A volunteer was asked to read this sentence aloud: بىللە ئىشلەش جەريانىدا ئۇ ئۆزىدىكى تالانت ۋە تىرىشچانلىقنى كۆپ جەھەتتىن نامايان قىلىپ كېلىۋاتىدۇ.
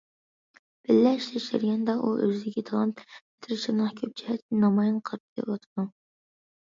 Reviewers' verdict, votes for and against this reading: rejected, 0, 2